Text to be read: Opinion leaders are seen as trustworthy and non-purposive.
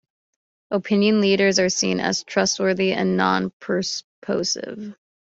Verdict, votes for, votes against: rejected, 1, 2